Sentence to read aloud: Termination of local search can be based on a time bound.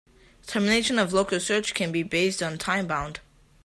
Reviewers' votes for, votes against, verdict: 2, 0, accepted